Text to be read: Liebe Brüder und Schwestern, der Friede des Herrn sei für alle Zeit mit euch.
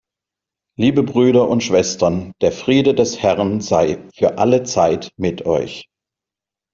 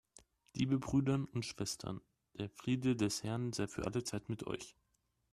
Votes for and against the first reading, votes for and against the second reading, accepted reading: 2, 0, 2, 3, first